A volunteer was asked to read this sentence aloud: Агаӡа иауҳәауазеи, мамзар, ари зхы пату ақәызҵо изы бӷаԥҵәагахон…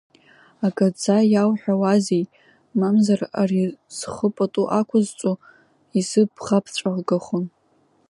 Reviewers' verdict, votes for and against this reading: rejected, 0, 2